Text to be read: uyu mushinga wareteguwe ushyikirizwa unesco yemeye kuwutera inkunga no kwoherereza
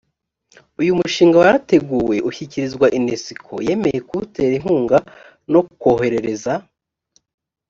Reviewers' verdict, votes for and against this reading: accepted, 2, 0